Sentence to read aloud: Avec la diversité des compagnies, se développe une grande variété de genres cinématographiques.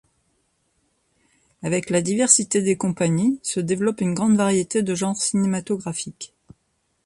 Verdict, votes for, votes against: accepted, 2, 0